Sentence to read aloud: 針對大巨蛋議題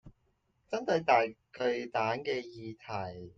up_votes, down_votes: 0, 2